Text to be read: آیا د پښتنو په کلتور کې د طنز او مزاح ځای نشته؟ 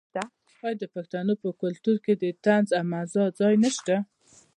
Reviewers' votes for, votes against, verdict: 1, 2, rejected